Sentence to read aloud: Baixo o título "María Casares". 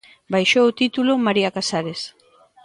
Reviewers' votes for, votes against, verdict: 0, 2, rejected